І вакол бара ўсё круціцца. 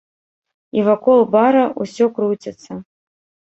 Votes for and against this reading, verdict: 2, 0, accepted